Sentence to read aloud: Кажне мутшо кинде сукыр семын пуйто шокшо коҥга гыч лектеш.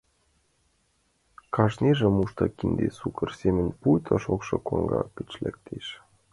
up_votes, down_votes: 1, 2